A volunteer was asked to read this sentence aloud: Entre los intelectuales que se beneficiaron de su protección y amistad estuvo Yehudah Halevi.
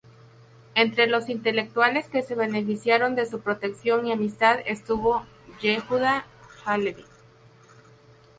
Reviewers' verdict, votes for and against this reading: accepted, 2, 0